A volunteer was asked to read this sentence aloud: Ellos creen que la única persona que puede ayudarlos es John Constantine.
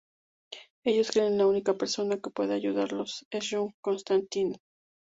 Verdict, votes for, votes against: rejected, 0, 2